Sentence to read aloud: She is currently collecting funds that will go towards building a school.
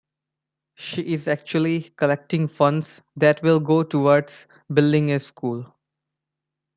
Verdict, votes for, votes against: rejected, 1, 2